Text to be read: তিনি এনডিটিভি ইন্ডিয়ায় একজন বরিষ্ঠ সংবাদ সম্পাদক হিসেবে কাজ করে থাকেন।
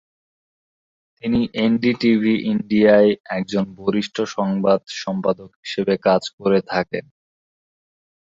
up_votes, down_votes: 2, 6